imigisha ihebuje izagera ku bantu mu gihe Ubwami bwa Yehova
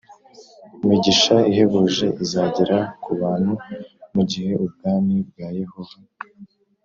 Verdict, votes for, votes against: accepted, 2, 0